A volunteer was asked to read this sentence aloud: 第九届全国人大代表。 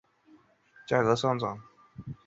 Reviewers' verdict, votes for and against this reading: rejected, 0, 2